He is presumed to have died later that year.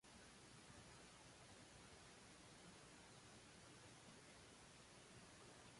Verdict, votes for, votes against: rejected, 0, 2